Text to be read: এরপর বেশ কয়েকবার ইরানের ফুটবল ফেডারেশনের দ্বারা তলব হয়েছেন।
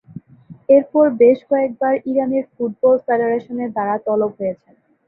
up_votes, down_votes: 2, 0